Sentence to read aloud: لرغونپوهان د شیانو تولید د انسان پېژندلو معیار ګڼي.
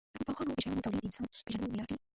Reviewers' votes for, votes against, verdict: 0, 2, rejected